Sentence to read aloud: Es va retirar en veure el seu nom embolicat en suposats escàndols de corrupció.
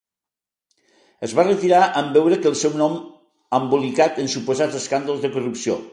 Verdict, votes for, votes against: rejected, 0, 2